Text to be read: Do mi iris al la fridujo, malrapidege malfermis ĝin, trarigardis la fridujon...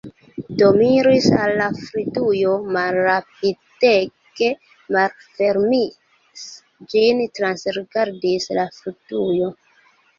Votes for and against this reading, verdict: 0, 2, rejected